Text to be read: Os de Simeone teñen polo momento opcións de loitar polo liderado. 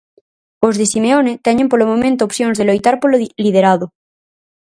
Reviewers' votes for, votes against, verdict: 0, 4, rejected